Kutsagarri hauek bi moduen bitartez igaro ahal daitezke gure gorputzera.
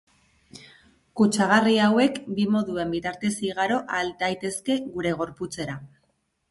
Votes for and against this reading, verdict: 1, 2, rejected